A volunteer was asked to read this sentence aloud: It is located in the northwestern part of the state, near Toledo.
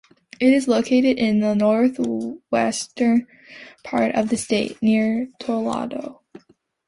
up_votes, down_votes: 1, 2